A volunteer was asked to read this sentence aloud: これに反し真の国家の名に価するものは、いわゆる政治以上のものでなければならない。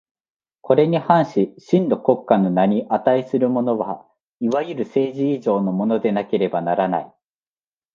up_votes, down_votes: 2, 0